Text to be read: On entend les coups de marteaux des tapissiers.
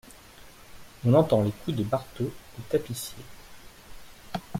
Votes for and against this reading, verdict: 1, 2, rejected